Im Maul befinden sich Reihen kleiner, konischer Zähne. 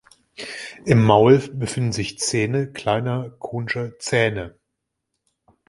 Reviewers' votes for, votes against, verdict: 0, 2, rejected